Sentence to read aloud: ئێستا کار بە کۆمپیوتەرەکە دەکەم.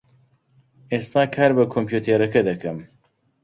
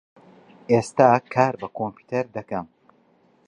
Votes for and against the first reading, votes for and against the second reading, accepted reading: 2, 1, 1, 2, first